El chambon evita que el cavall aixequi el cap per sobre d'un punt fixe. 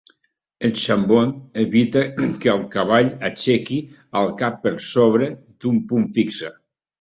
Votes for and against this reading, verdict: 4, 0, accepted